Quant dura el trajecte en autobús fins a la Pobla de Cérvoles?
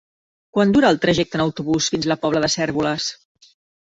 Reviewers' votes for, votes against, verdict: 0, 2, rejected